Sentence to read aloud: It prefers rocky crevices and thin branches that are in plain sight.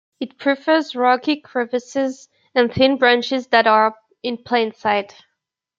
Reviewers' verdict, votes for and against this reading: accepted, 2, 0